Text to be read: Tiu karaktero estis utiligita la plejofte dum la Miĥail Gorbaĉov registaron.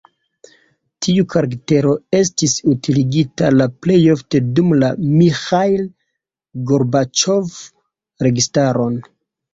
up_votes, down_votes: 0, 2